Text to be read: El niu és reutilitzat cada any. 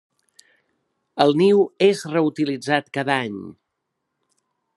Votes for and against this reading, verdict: 3, 0, accepted